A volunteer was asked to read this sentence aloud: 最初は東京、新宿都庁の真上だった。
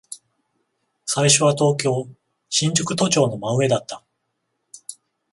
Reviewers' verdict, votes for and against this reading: accepted, 14, 0